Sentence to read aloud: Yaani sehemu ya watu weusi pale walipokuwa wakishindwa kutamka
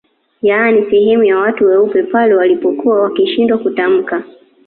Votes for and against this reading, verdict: 2, 1, accepted